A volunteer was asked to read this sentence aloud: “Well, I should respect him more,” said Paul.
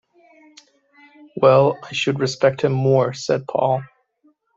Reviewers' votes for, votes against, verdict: 2, 0, accepted